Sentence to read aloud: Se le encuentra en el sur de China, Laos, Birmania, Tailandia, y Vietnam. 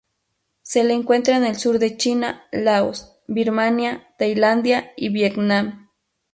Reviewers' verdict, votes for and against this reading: accepted, 2, 0